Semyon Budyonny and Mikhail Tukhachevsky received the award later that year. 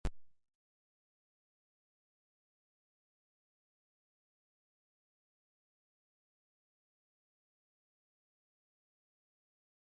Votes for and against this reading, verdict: 0, 2, rejected